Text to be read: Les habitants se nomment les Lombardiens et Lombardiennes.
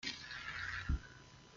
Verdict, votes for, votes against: rejected, 0, 2